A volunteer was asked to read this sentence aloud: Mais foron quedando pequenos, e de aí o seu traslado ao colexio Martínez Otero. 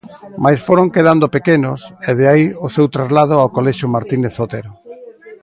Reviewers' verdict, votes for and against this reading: accepted, 2, 0